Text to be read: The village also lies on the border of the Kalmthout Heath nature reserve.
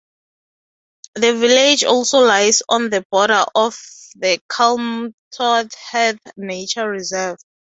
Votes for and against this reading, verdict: 2, 0, accepted